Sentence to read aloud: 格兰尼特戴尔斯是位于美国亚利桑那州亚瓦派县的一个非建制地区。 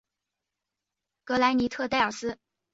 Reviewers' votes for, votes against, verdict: 1, 2, rejected